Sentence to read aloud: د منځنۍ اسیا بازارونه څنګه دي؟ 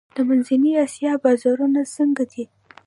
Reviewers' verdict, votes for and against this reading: rejected, 1, 2